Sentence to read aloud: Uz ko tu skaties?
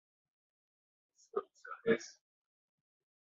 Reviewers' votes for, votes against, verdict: 0, 2, rejected